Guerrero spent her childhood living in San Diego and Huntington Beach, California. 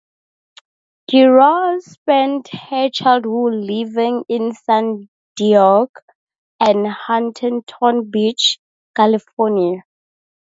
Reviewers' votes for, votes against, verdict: 0, 2, rejected